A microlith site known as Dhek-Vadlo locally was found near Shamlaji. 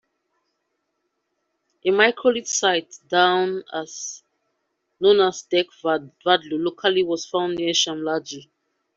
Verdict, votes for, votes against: rejected, 0, 2